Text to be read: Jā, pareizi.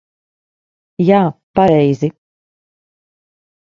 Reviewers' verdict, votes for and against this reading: accepted, 2, 0